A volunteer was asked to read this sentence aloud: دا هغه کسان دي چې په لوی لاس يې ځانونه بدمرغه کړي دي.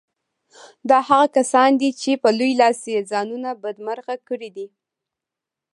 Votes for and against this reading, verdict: 3, 0, accepted